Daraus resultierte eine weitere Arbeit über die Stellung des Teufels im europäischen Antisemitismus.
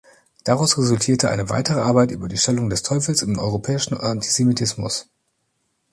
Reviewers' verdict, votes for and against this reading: accepted, 2, 0